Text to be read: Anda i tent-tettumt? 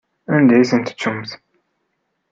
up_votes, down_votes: 2, 0